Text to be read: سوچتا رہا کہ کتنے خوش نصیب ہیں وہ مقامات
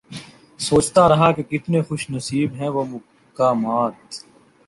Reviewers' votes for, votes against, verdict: 1, 2, rejected